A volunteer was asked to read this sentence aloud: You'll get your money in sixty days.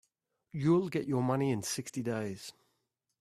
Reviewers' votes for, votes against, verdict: 2, 0, accepted